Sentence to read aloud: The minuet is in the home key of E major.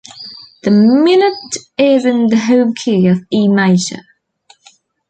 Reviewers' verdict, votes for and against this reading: accepted, 2, 1